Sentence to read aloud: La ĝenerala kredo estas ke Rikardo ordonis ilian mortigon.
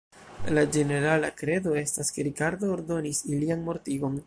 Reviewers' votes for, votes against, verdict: 1, 2, rejected